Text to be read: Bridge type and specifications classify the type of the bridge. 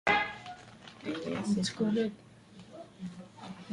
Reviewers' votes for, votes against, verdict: 0, 2, rejected